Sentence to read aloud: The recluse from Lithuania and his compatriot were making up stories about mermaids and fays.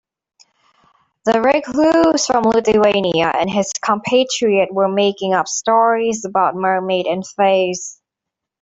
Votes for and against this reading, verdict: 1, 2, rejected